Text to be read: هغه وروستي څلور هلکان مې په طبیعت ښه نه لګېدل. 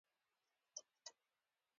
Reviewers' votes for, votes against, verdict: 0, 2, rejected